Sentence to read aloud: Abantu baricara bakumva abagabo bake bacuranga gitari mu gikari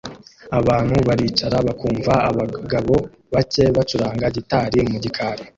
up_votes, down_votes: 2, 0